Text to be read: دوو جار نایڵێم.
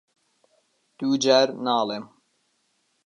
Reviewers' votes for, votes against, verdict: 0, 2, rejected